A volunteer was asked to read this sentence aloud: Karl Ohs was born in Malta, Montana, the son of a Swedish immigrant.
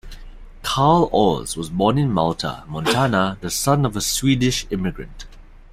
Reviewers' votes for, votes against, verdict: 2, 1, accepted